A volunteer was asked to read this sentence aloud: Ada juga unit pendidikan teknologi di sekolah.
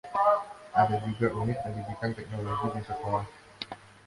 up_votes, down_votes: 2, 1